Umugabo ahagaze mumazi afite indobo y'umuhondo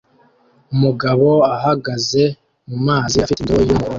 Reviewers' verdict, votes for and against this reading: rejected, 0, 2